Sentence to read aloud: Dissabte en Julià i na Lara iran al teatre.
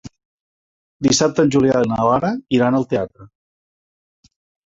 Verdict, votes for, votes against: accepted, 3, 0